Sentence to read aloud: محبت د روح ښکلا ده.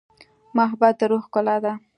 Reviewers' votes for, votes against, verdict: 2, 0, accepted